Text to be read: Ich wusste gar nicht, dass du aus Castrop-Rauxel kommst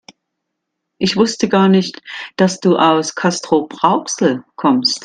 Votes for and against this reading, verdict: 2, 1, accepted